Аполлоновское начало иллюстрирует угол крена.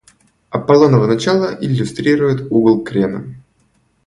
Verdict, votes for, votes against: rejected, 1, 2